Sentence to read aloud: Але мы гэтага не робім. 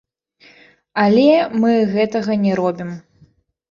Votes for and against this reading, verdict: 0, 2, rejected